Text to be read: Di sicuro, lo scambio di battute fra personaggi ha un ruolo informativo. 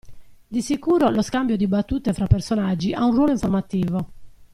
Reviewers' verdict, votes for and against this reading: rejected, 1, 2